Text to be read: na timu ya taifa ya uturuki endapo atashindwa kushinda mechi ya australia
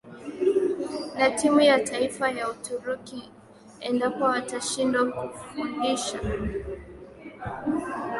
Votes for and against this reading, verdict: 0, 2, rejected